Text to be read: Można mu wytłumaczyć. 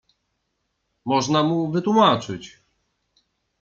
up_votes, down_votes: 2, 0